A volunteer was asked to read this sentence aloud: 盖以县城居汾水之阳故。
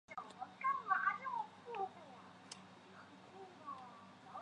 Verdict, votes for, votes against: rejected, 0, 4